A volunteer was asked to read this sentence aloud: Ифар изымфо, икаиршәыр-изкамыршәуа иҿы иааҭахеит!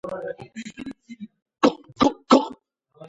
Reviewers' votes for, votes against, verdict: 1, 2, rejected